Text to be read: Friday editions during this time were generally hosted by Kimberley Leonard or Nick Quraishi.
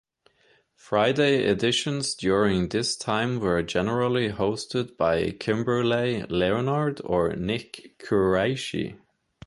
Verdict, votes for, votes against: accepted, 2, 0